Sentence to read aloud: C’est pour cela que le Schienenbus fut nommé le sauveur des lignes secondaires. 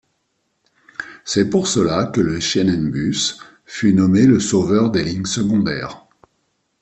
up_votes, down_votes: 2, 0